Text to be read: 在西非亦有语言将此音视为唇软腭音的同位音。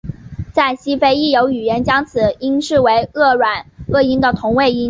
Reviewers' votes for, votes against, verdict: 0, 2, rejected